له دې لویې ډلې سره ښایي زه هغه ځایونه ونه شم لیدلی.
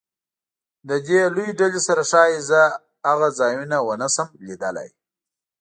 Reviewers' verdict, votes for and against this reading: accepted, 2, 0